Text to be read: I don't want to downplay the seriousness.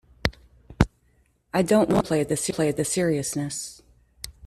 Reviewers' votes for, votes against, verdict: 0, 2, rejected